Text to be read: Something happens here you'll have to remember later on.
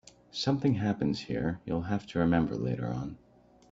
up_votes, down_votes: 2, 0